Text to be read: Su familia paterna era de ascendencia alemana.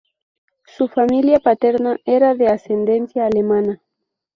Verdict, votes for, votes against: accepted, 2, 0